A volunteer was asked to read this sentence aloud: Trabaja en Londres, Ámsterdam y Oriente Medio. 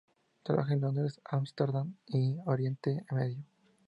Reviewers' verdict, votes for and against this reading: rejected, 2, 2